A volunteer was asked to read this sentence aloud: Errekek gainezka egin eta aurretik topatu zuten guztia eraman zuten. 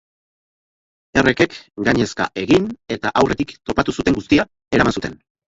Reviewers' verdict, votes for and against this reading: rejected, 0, 4